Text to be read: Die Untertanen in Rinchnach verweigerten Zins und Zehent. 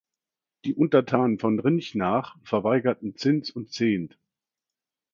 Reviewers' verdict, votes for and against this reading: rejected, 1, 2